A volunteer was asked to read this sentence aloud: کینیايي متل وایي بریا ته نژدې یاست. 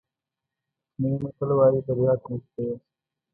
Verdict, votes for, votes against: rejected, 1, 2